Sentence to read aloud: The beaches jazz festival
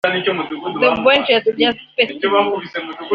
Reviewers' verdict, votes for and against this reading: rejected, 0, 3